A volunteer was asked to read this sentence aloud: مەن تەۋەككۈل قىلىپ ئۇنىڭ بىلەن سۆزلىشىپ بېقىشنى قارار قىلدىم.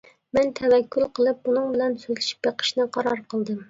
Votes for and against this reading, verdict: 2, 0, accepted